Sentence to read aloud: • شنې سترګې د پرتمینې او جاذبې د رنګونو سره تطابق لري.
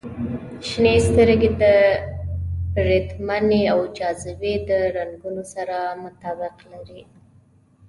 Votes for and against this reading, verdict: 1, 2, rejected